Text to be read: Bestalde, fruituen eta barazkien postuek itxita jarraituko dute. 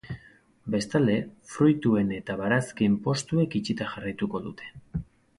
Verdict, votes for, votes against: accepted, 4, 0